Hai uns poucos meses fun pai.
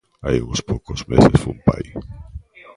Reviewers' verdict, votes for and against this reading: rejected, 1, 2